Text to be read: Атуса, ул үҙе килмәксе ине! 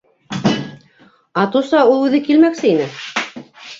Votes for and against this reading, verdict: 0, 2, rejected